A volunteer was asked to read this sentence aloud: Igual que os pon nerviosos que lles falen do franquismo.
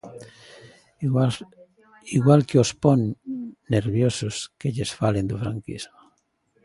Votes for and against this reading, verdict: 0, 2, rejected